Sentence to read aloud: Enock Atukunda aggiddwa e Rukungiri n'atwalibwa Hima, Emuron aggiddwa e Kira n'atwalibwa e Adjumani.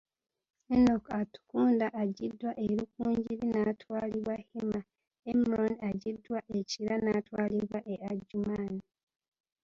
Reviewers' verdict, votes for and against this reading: rejected, 0, 2